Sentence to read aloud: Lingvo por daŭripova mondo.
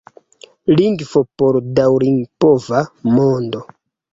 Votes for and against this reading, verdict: 2, 0, accepted